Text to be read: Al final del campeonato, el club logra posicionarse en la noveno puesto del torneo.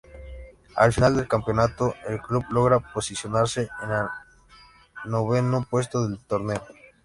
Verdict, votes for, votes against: rejected, 0, 3